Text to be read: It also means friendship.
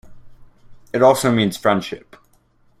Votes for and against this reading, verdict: 2, 0, accepted